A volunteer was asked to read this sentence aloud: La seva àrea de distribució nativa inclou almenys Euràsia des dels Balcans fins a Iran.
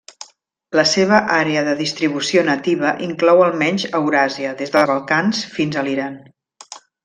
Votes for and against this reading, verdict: 2, 1, accepted